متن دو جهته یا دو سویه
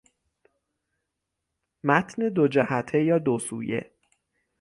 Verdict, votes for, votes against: accepted, 6, 0